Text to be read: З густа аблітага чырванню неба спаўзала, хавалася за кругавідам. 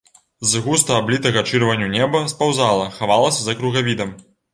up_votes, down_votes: 2, 0